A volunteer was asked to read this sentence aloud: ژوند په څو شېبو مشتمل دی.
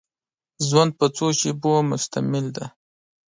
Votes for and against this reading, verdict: 2, 0, accepted